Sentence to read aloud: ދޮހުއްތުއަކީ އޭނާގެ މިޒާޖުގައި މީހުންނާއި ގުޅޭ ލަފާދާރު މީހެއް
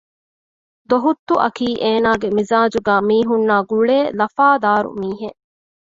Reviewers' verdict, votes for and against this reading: accepted, 2, 0